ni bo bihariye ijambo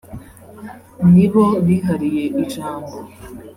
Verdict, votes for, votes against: accepted, 2, 0